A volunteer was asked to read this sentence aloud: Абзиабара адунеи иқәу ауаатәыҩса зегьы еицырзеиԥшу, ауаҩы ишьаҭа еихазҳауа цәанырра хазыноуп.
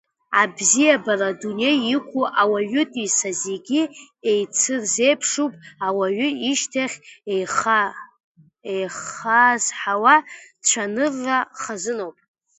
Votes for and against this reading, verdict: 0, 2, rejected